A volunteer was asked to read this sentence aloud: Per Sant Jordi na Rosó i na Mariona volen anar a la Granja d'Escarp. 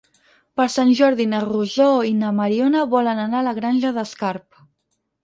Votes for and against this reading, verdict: 4, 0, accepted